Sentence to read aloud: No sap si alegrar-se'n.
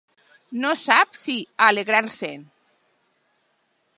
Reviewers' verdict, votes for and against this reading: accepted, 2, 0